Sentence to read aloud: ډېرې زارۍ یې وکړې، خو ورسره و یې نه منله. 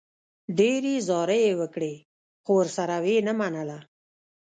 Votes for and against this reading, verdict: 2, 0, accepted